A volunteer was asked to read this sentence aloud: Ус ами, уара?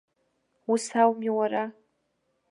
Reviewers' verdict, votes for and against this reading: rejected, 0, 2